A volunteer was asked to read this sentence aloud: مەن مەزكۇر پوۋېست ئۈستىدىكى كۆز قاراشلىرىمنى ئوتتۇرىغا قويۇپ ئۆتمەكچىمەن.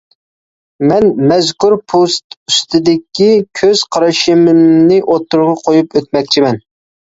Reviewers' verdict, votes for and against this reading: rejected, 0, 2